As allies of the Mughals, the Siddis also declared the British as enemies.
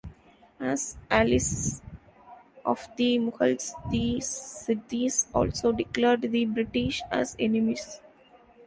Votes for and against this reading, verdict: 1, 2, rejected